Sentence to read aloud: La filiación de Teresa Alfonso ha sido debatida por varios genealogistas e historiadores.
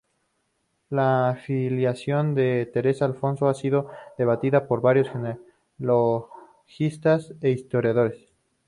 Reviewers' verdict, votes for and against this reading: rejected, 0, 2